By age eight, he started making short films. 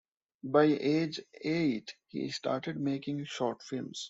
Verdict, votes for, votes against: accepted, 2, 0